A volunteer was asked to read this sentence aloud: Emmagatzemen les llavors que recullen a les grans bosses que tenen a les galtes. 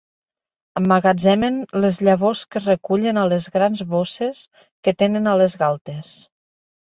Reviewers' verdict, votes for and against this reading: accepted, 2, 0